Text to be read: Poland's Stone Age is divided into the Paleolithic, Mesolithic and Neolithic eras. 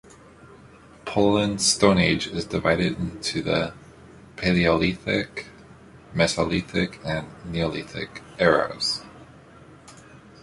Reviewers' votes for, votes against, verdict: 2, 1, accepted